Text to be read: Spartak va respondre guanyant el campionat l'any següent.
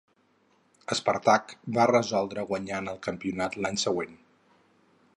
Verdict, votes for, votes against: rejected, 2, 2